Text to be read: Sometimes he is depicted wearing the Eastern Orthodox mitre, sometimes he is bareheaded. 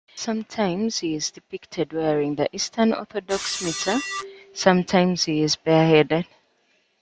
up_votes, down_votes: 1, 2